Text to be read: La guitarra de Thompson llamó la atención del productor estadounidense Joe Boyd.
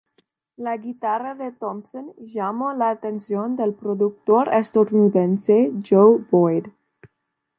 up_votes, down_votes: 2, 0